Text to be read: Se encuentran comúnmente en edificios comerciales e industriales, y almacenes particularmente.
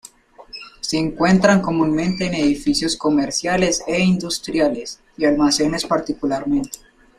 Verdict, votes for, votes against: accepted, 2, 0